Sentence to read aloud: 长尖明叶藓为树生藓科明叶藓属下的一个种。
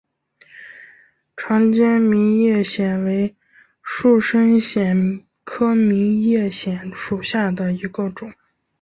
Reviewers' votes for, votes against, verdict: 4, 0, accepted